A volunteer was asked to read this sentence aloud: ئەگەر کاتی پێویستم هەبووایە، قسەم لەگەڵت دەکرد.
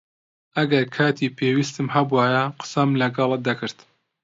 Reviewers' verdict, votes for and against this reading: accepted, 2, 0